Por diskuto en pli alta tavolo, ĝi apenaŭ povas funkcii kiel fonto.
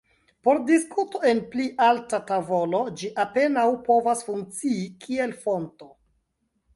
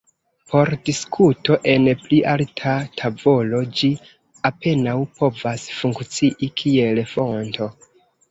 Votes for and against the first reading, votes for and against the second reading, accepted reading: 2, 0, 1, 2, first